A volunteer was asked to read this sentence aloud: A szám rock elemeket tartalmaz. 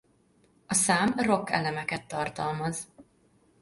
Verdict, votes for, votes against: accepted, 2, 1